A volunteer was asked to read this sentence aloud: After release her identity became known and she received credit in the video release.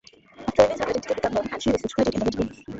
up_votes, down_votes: 0, 2